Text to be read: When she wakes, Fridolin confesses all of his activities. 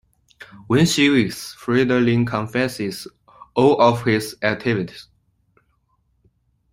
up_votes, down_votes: 2, 0